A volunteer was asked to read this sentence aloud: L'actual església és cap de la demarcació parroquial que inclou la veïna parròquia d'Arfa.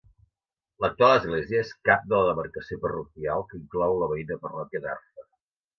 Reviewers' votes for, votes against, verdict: 2, 0, accepted